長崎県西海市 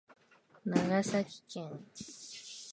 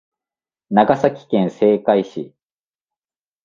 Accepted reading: second